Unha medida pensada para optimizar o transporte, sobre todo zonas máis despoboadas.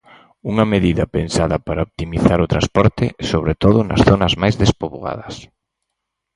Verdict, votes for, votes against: rejected, 2, 2